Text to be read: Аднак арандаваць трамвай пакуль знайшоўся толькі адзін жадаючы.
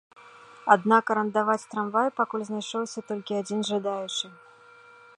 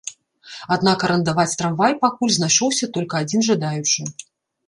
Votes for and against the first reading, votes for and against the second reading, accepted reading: 2, 0, 0, 2, first